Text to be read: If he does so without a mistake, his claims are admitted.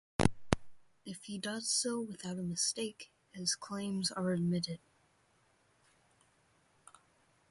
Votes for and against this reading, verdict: 2, 0, accepted